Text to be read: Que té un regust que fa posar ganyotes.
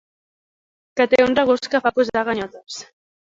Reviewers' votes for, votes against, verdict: 1, 2, rejected